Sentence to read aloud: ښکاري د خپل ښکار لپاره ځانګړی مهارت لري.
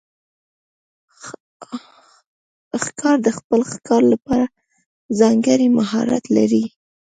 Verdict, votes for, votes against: rejected, 1, 2